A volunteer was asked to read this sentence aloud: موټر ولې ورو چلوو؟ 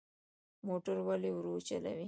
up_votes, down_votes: 0, 2